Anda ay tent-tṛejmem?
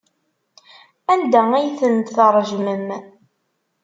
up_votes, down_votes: 2, 0